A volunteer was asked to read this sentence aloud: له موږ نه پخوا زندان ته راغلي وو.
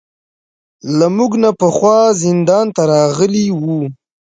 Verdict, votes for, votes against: rejected, 1, 2